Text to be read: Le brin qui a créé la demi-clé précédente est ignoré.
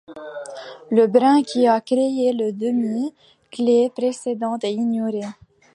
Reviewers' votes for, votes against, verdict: 2, 1, accepted